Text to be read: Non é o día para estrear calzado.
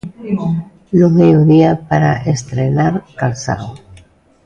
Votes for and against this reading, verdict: 0, 2, rejected